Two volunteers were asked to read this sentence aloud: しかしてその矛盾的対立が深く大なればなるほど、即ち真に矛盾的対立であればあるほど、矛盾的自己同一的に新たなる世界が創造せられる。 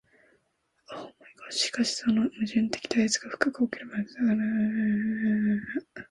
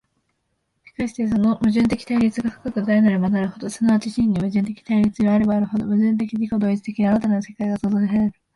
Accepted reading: second